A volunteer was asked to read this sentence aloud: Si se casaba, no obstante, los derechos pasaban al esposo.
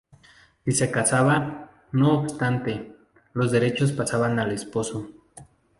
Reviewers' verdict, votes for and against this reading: rejected, 0, 2